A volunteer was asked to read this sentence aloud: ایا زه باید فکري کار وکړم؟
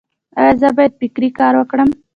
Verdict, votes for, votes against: accepted, 2, 0